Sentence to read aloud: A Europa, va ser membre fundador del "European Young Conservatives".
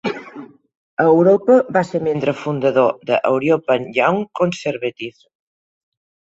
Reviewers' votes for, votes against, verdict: 0, 2, rejected